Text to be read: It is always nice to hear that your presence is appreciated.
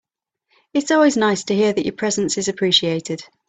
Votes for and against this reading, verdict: 3, 0, accepted